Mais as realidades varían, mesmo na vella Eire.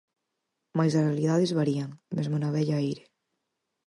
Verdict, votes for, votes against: accepted, 4, 0